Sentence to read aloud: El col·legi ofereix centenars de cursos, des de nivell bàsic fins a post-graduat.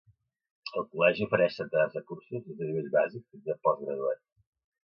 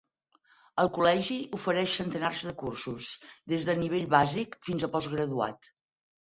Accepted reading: second